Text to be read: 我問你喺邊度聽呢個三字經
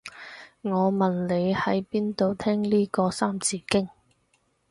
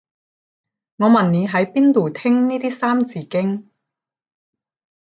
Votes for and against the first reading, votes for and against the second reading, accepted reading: 4, 0, 5, 10, first